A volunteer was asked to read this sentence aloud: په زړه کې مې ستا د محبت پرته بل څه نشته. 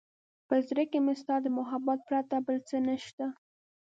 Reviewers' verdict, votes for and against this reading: accepted, 2, 0